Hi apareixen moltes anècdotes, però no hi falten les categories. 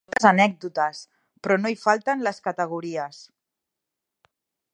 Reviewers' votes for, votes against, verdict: 1, 2, rejected